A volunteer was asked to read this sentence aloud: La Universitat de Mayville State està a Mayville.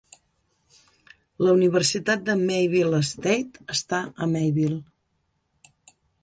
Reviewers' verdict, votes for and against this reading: accepted, 3, 0